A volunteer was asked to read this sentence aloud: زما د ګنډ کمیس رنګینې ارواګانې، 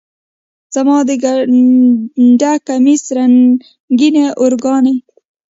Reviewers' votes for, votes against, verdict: 1, 2, rejected